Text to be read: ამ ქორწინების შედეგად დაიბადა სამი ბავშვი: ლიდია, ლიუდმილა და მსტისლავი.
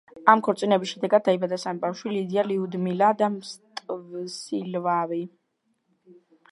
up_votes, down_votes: 0, 3